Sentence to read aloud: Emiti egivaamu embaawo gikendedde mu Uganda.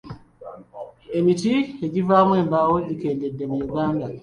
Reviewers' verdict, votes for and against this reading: accepted, 2, 1